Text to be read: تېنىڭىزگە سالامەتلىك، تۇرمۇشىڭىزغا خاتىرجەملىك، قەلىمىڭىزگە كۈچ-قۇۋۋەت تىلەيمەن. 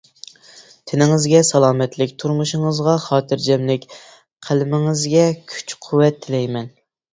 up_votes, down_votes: 2, 1